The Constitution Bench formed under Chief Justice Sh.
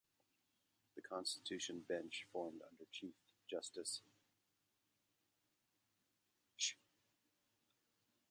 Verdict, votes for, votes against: rejected, 1, 2